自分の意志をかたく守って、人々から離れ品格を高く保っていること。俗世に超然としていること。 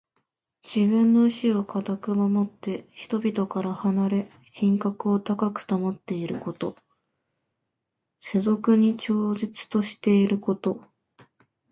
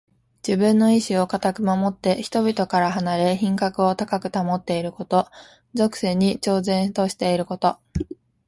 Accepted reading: second